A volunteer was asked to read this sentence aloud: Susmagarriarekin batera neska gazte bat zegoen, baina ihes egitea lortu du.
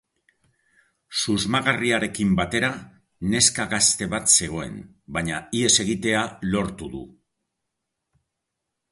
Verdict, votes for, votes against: accepted, 2, 0